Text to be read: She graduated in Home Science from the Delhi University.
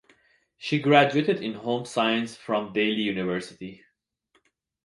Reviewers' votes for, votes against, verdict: 1, 2, rejected